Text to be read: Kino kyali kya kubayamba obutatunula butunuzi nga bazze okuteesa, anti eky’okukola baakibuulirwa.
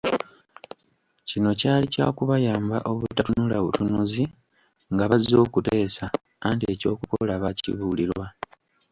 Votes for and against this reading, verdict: 2, 1, accepted